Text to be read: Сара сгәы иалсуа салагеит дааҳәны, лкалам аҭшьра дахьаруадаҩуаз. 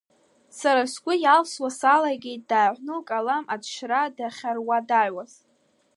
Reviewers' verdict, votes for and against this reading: accepted, 2, 0